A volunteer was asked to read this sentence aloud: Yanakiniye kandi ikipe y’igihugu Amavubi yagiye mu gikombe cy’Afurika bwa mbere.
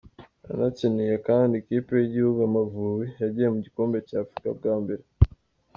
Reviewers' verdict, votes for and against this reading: accepted, 2, 1